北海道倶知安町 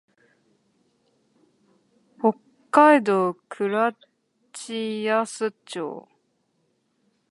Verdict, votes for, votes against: rejected, 0, 2